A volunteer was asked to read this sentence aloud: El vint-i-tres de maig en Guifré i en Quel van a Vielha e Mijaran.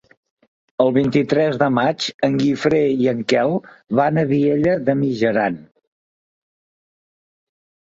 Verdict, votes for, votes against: rejected, 0, 2